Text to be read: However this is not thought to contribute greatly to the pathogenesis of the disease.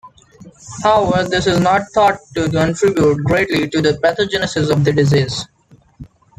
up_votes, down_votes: 1, 2